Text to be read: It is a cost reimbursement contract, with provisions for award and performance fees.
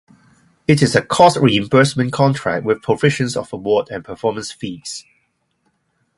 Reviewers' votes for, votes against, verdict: 4, 0, accepted